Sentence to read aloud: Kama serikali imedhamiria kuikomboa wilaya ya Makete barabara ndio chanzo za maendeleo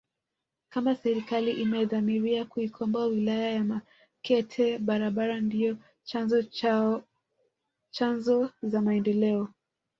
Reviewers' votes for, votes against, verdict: 1, 2, rejected